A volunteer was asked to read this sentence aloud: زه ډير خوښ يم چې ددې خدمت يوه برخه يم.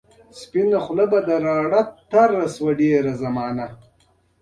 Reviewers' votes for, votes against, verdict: 1, 2, rejected